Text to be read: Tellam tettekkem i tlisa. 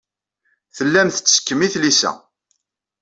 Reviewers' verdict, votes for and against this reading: accepted, 2, 0